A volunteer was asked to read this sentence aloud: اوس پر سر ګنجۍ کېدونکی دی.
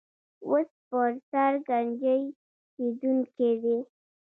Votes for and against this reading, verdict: 1, 2, rejected